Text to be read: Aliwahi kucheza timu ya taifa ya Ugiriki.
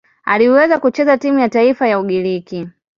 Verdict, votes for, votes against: rejected, 2, 2